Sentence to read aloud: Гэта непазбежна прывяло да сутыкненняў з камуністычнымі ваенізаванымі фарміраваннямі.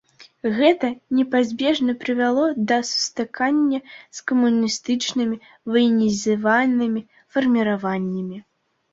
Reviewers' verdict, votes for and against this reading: rejected, 0, 2